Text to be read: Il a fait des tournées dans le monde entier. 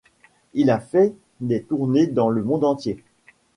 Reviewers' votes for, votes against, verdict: 2, 0, accepted